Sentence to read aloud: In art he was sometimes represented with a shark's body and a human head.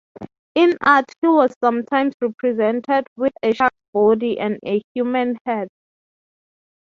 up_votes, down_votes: 6, 0